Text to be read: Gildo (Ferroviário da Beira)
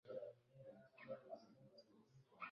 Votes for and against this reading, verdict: 0, 2, rejected